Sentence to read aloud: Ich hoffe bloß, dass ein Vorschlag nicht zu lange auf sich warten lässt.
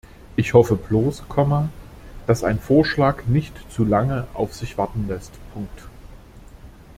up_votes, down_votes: 0, 2